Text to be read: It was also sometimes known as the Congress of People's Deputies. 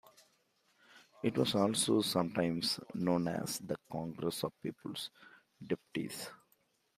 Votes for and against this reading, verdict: 2, 0, accepted